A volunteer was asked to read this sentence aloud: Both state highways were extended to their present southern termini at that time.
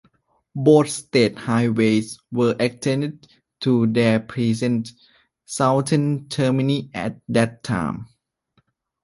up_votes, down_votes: 0, 2